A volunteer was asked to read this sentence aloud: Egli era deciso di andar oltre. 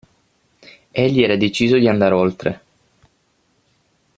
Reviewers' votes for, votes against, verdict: 6, 0, accepted